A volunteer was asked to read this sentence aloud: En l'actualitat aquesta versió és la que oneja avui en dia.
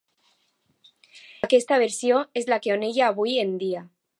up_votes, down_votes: 0, 2